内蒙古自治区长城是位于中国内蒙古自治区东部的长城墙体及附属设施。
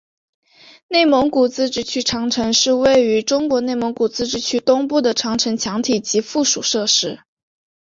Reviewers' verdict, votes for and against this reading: accepted, 2, 0